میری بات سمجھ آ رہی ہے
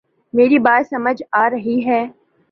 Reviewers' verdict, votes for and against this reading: accepted, 2, 0